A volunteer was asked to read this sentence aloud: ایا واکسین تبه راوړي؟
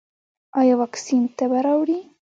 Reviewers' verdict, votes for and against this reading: accepted, 2, 0